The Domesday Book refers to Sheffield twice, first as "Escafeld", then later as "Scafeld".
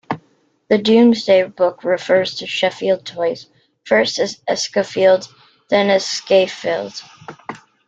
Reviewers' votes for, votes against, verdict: 3, 1, accepted